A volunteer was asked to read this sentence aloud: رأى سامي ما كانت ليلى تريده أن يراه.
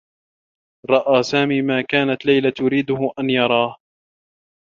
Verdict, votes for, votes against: accepted, 2, 0